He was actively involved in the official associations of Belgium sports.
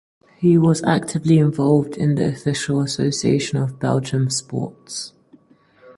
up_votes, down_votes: 0, 4